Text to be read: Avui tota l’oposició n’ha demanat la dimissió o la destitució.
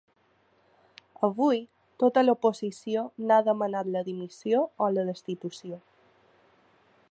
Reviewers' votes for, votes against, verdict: 3, 0, accepted